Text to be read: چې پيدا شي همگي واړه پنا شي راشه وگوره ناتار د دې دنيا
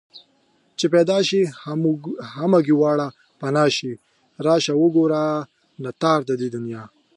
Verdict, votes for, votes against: rejected, 0, 2